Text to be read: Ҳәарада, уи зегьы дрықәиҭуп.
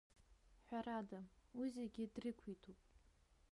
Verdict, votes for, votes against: rejected, 1, 2